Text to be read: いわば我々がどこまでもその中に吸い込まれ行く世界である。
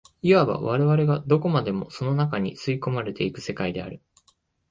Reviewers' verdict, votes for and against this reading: rejected, 1, 2